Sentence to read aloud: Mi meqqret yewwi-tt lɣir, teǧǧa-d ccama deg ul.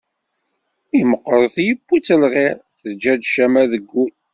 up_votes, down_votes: 2, 0